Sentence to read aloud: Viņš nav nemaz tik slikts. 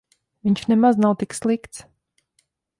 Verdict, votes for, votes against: rejected, 0, 3